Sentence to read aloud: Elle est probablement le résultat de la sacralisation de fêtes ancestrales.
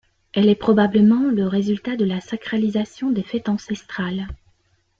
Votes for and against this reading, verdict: 1, 2, rejected